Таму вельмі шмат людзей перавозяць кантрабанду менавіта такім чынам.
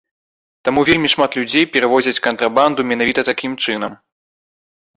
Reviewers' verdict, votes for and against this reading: accepted, 2, 0